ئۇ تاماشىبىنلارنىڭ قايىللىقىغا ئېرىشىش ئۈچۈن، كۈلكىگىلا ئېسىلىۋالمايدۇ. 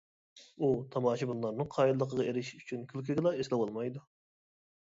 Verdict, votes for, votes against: accepted, 2, 0